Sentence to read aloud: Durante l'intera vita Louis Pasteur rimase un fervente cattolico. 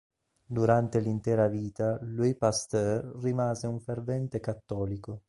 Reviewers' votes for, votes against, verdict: 2, 0, accepted